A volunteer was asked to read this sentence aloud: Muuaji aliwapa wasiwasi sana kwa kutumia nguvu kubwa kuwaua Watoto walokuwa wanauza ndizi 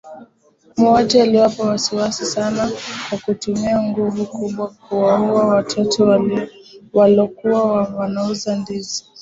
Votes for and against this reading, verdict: 0, 2, rejected